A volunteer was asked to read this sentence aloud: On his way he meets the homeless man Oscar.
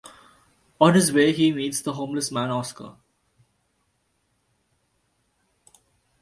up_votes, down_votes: 2, 0